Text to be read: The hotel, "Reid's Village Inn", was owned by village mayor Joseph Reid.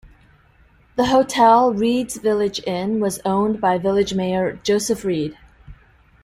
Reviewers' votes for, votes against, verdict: 2, 0, accepted